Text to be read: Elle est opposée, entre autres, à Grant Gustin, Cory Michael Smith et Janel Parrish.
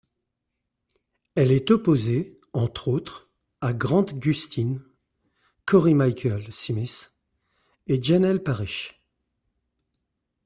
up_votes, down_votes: 2, 0